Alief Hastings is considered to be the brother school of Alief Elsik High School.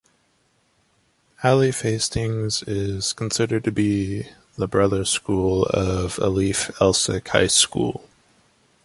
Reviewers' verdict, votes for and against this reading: accepted, 2, 0